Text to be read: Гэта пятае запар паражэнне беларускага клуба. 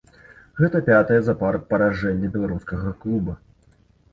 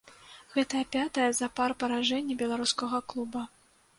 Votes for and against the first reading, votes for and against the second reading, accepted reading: 2, 0, 0, 2, first